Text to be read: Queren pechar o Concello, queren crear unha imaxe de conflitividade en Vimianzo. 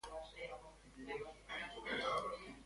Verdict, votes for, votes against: rejected, 0, 2